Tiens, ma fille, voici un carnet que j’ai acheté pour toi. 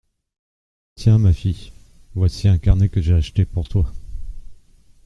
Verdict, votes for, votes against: accepted, 2, 0